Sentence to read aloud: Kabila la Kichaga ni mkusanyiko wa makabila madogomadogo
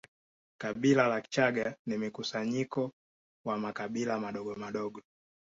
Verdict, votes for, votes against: accepted, 2, 0